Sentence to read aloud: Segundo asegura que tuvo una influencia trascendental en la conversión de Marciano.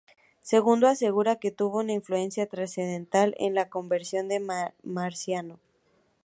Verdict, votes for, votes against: rejected, 0, 2